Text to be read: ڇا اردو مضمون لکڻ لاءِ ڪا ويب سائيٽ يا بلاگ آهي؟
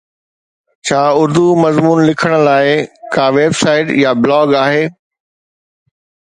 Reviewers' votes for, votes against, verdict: 2, 0, accepted